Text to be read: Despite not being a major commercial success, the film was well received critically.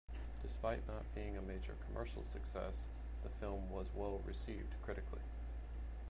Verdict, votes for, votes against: rejected, 1, 2